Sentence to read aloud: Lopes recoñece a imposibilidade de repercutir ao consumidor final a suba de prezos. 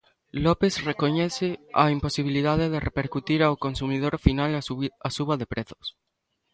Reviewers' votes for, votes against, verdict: 0, 2, rejected